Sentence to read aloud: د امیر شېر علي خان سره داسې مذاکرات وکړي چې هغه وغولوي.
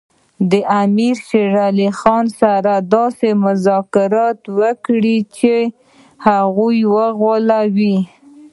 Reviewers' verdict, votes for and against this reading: rejected, 0, 3